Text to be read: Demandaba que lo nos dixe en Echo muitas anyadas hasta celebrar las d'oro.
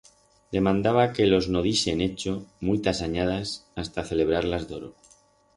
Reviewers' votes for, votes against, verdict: 2, 4, rejected